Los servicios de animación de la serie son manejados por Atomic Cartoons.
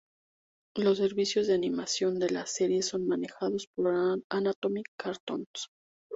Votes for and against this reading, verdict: 0, 2, rejected